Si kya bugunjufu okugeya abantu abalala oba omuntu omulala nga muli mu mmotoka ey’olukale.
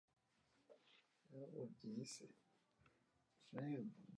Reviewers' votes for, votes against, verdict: 0, 2, rejected